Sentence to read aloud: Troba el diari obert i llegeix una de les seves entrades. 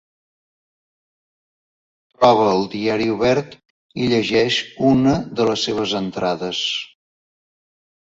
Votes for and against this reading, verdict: 2, 1, accepted